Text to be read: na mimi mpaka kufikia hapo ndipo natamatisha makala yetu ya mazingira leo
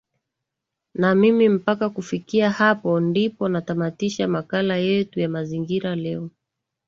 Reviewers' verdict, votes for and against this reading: accepted, 2, 0